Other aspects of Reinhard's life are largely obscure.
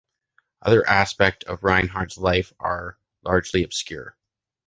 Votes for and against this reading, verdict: 0, 2, rejected